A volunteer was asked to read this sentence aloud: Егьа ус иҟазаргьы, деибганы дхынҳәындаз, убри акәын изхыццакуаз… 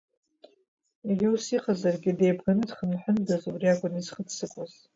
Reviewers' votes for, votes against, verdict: 2, 0, accepted